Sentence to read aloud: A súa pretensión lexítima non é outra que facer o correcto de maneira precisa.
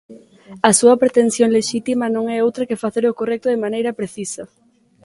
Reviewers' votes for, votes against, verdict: 3, 0, accepted